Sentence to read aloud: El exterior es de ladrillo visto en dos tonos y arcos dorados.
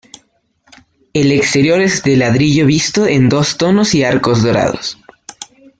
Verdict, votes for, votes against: accepted, 2, 1